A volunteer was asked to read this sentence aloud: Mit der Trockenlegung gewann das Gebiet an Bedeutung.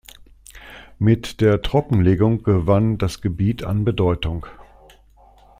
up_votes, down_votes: 2, 0